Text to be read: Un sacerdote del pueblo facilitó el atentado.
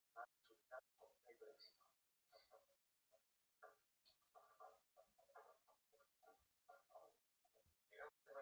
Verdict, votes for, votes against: rejected, 0, 2